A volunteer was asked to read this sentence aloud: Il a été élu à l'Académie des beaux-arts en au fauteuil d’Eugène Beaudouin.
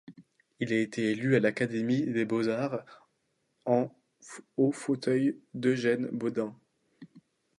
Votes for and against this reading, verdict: 2, 0, accepted